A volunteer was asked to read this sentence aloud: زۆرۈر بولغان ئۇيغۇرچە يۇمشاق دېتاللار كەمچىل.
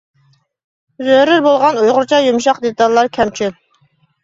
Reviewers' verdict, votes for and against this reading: accepted, 2, 0